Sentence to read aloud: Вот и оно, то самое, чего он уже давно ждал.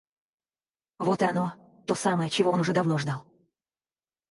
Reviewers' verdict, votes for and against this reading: rejected, 2, 4